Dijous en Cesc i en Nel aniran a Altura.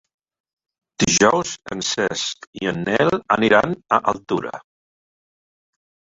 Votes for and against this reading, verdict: 3, 1, accepted